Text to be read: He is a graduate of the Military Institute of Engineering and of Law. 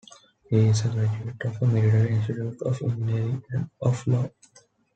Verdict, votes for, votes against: rejected, 0, 2